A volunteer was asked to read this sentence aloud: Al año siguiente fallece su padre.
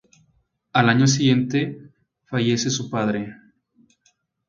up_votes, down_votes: 2, 0